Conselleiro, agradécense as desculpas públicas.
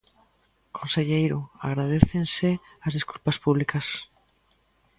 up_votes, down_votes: 2, 0